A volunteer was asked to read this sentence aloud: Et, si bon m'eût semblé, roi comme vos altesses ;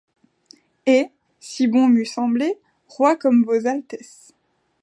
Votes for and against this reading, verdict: 2, 1, accepted